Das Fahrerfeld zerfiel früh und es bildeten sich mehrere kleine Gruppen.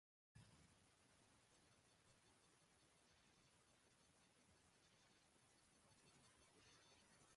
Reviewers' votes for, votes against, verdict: 0, 2, rejected